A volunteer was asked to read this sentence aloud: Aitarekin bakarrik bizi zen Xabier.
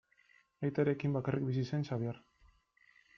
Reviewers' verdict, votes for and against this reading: accepted, 2, 0